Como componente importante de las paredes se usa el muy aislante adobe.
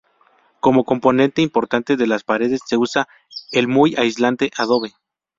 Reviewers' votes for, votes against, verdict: 2, 0, accepted